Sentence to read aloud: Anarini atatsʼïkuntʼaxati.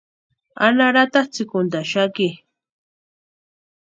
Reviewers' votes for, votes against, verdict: 0, 2, rejected